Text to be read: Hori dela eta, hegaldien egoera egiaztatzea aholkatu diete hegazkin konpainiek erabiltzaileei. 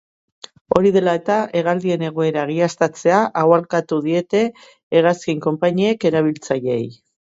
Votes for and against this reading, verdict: 2, 0, accepted